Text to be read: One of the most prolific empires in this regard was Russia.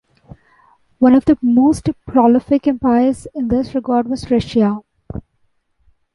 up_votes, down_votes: 2, 0